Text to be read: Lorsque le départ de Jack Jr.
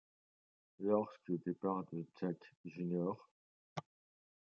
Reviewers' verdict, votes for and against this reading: rejected, 1, 2